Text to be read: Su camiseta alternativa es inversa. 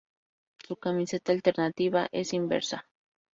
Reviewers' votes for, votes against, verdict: 2, 0, accepted